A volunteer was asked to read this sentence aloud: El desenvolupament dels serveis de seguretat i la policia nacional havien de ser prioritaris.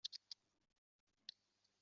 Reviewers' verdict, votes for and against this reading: rejected, 0, 2